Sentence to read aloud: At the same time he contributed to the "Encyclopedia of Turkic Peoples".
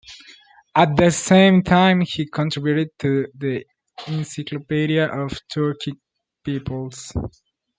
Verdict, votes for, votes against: accepted, 2, 0